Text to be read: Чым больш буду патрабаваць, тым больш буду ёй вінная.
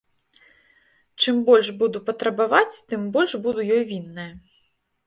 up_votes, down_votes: 2, 0